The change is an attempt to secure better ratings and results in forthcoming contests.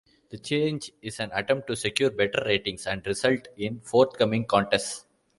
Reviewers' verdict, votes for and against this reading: accepted, 2, 0